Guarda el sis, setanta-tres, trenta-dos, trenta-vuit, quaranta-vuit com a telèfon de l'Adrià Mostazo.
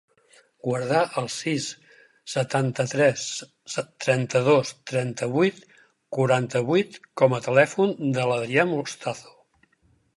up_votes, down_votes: 4, 2